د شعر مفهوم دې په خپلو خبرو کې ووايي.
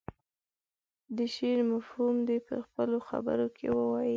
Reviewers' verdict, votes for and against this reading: accepted, 2, 0